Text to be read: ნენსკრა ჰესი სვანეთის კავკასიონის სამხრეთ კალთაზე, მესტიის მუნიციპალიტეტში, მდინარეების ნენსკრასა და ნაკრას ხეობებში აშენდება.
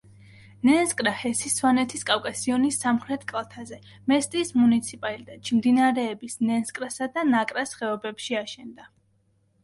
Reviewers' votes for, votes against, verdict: 1, 2, rejected